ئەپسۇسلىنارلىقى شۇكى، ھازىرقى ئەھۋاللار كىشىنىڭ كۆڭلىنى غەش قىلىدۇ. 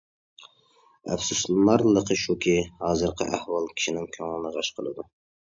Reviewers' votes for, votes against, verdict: 0, 2, rejected